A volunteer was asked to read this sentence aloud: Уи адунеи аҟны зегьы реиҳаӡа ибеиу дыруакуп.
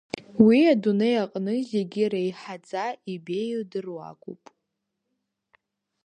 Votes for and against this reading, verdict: 2, 1, accepted